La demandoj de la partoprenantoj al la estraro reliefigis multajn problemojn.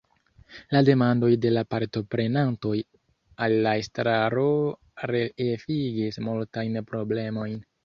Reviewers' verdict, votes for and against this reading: rejected, 0, 2